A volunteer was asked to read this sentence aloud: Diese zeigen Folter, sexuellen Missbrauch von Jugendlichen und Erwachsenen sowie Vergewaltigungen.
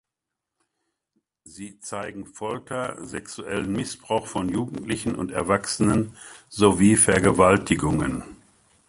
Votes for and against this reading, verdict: 0, 2, rejected